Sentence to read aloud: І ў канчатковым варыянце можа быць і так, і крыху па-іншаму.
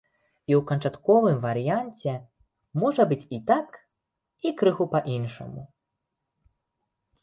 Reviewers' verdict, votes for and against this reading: accepted, 2, 0